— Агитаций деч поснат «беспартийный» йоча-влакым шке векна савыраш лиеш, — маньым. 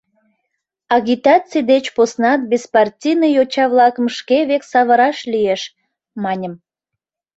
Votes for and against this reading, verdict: 0, 2, rejected